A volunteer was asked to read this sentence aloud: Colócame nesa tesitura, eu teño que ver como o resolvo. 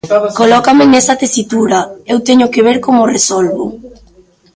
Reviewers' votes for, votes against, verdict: 1, 2, rejected